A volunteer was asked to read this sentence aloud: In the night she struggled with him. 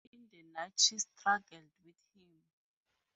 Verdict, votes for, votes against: accepted, 2, 0